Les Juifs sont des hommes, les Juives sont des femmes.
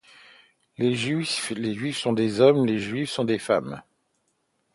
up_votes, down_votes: 0, 2